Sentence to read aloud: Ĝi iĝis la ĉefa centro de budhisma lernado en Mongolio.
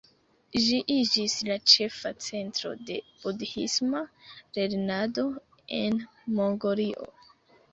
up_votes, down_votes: 2, 0